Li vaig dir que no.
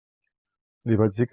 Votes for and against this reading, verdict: 0, 2, rejected